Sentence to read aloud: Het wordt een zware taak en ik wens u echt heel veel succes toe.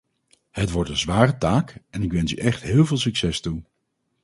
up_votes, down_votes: 4, 0